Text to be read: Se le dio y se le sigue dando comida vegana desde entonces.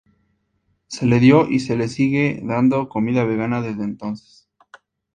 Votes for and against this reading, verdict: 4, 0, accepted